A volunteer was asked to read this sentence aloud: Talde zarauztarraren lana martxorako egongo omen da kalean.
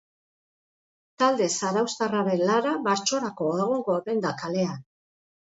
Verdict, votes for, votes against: rejected, 0, 2